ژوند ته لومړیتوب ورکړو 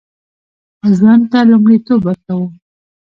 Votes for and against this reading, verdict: 2, 0, accepted